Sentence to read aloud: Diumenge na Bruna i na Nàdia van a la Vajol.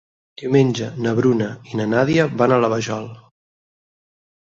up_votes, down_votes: 6, 0